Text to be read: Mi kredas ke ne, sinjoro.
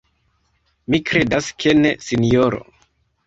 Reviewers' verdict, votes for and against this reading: accepted, 2, 1